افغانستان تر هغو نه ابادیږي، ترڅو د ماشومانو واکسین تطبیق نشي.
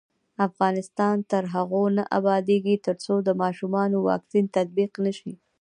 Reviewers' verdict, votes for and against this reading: rejected, 1, 2